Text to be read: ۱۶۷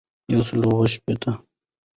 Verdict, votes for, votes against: rejected, 0, 2